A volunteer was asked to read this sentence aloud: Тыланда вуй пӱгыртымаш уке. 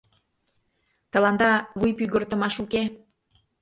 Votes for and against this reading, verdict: 3, 0, accepted